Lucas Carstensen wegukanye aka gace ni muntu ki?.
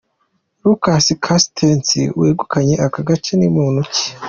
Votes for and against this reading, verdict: 2, 0, accepted